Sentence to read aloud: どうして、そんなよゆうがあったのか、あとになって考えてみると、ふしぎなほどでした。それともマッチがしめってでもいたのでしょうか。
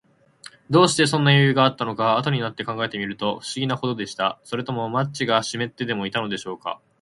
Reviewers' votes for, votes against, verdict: 8, 0, accepted